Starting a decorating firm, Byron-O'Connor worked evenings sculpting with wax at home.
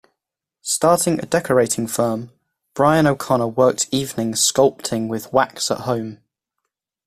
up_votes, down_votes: 1, 2